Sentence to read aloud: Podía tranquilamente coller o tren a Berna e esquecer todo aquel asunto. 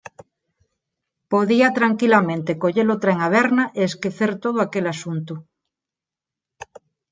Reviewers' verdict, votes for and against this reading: accepted, 4, 0